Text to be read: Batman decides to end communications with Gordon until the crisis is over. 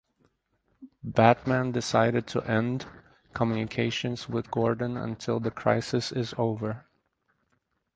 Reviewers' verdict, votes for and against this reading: rejected, 0, 4